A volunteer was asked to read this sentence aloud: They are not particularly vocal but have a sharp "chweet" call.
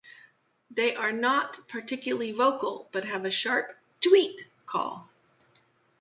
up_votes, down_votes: 2, 0